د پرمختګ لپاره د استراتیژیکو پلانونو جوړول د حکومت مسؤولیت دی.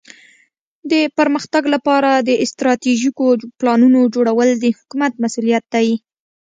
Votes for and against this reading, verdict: 3, 0, accepted